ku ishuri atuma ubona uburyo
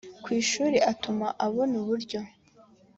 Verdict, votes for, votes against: accepted, 3, 1